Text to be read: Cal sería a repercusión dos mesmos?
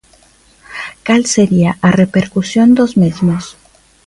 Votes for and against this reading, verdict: 2, 0, accepted